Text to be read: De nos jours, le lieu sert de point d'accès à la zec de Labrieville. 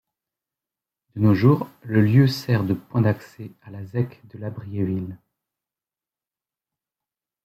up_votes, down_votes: 1, 2